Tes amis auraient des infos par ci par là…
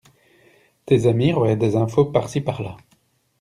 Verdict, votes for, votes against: rejected, 1, 2